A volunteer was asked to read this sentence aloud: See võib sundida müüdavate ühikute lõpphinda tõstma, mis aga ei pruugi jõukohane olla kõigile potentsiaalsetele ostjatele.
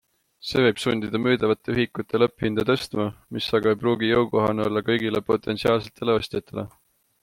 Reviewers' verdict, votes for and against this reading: accepted, 2, 0